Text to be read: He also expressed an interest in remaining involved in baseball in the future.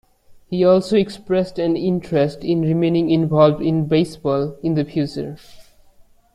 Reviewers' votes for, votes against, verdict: 2, 1, accepted